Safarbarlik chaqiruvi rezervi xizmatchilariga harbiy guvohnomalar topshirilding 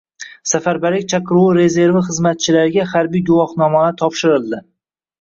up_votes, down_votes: 1, 2